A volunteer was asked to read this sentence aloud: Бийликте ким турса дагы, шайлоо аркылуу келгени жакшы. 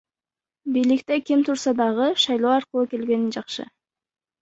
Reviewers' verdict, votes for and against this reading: accepted, 2, 0